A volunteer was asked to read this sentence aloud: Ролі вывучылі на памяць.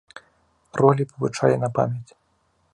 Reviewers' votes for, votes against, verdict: 1, 2, rejected